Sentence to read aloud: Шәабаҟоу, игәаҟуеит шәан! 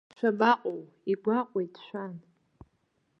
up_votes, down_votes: 2, 0